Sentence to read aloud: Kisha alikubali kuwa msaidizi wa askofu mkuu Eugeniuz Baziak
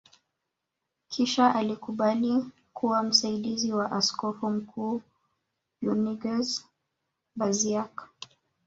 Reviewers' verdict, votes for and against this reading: rejected, 1, 2